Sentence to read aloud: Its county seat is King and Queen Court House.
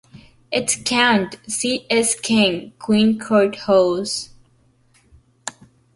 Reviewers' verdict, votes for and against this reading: rejected, 0, 2